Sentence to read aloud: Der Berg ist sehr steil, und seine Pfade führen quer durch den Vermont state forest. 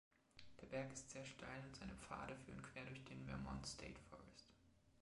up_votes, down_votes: 2, 0